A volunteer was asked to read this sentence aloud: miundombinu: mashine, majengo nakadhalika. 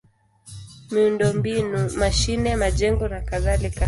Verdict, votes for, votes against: accepted, 2, 0